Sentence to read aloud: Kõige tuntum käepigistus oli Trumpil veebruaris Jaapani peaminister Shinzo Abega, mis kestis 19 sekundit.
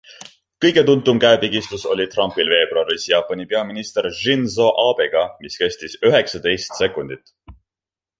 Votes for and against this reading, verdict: 0, 2, rejected